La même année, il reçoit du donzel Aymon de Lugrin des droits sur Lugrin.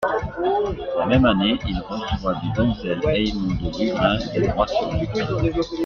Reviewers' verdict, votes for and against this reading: rejected, 0, 2